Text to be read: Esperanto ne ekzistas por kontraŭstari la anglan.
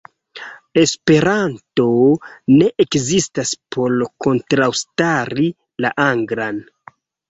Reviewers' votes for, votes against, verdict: 0, 2, rejected